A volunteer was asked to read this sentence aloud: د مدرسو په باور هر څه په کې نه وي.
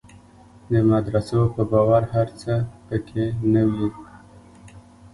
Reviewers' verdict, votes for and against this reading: accepted, 2, 1